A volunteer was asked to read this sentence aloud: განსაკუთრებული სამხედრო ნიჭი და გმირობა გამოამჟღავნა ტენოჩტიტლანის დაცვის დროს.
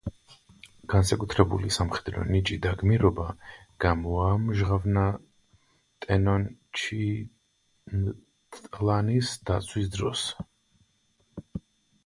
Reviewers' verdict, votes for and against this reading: rejected, 0, 2